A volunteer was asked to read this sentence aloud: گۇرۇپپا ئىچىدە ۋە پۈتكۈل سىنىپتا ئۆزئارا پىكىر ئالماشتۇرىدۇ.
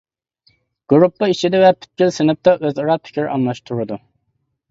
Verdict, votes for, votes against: accepted, 2, 0